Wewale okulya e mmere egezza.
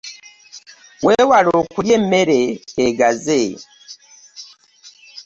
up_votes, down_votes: 1, 2